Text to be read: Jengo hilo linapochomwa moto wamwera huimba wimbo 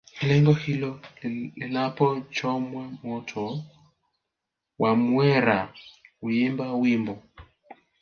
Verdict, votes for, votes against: rejected, 1, 2